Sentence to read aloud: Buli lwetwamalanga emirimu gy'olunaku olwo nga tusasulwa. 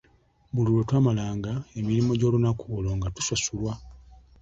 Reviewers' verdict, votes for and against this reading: accepted, 2, 0